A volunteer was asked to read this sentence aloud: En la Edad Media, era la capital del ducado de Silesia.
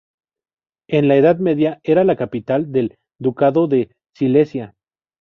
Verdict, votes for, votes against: rejected, 0, 2